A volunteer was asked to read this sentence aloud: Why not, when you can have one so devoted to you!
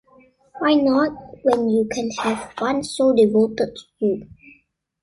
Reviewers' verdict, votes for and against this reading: rejected, 1, 2